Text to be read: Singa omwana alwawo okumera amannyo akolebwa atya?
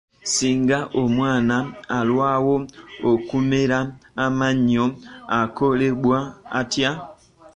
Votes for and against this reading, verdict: 2, 1, accepted